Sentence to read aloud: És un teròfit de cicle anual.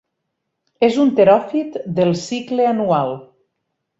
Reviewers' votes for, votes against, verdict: 4, 6, rejected